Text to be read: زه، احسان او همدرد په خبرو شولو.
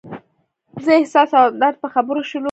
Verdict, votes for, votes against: rejected, 1, 2